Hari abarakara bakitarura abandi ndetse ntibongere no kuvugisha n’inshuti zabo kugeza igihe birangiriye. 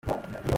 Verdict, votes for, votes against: rejected, 0, 2